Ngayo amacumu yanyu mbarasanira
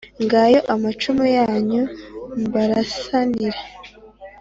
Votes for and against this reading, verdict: 2, 0, accepted